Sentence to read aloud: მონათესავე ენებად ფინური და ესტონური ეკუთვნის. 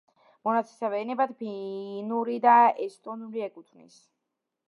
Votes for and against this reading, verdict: 1, 2, rejected